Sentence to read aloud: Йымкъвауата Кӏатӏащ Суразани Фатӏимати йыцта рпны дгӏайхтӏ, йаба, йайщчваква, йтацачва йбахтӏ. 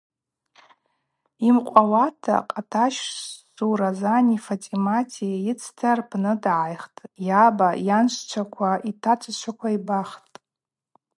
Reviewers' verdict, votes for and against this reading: rejected, 0, 2